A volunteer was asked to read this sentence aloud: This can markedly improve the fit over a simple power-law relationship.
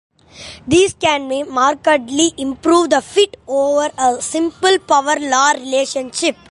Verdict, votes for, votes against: accepted, 2, 0